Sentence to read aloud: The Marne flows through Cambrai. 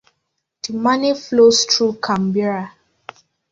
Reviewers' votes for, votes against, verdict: 0, 2, rejected